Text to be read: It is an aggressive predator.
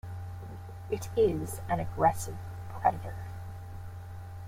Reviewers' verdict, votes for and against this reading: rejected, 1, 2